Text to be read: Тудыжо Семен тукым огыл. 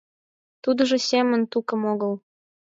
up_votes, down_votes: 4, 2